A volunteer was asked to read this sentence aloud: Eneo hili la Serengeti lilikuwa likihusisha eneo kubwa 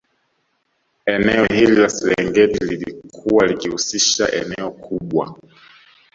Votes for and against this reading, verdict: 2, 0, accepted